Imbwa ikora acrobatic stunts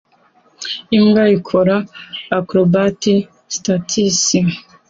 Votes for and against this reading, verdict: 2, 0, accepted